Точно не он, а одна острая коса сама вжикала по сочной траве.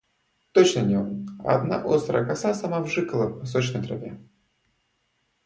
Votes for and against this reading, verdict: 2, 0, accepted